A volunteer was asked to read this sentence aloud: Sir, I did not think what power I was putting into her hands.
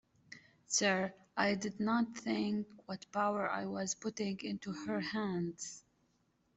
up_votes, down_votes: 2, 0